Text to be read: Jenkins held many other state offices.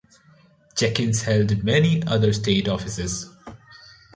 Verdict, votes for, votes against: accepted, 3, 0